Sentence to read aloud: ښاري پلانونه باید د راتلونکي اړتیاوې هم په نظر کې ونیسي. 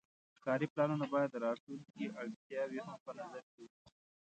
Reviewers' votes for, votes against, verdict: 2, 0, accepted